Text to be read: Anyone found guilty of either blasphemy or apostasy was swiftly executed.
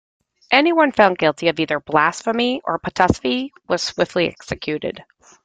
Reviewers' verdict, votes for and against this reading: rejected, 1, 2